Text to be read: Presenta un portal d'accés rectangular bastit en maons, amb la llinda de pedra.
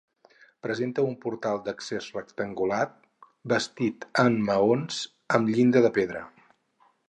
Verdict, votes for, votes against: rejected, 0, 4